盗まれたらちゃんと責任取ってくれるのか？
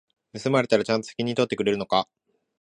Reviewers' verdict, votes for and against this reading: accepted, 2, 1